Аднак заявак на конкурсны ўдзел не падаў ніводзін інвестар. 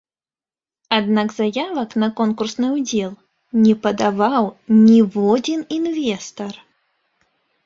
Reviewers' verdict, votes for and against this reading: rejected, 0, 2